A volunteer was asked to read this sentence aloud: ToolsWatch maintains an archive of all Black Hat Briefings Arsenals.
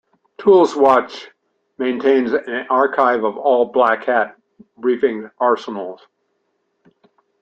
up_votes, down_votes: 1, 2